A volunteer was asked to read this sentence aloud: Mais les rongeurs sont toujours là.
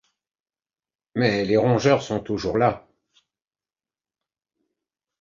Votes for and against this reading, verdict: 2, 0, accepted